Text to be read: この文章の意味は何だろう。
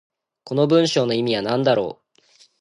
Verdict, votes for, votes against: accepted, 2, 0